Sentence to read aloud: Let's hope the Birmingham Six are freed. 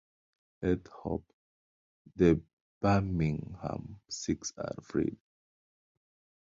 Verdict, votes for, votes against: rejected, 1, 2